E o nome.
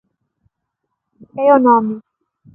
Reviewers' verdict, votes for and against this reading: rejected, 0, 2